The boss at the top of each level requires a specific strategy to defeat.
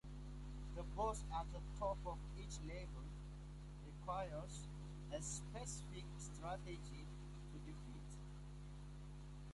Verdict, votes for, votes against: accepted, 2, 0